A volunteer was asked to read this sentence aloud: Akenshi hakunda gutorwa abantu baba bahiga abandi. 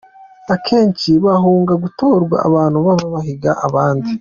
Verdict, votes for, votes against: accepted, 2, 0